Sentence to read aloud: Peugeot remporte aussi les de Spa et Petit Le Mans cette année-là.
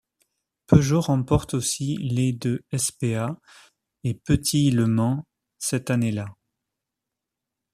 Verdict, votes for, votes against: rejected, 0, 2